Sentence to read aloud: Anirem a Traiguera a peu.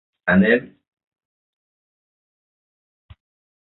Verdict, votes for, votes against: rejected, 0, 2